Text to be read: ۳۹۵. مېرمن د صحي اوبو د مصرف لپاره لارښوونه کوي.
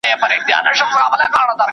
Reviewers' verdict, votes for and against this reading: rejected, 0, 2